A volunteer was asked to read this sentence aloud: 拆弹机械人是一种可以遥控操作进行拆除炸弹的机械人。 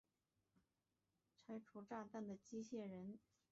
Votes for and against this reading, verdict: 0, 3, rejected